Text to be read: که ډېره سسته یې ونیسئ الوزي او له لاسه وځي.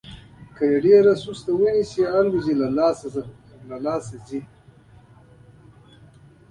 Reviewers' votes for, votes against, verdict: 1, 2, rejected